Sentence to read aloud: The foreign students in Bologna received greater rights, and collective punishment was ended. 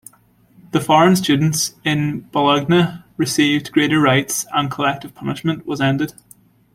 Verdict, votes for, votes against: rejected, 0, 2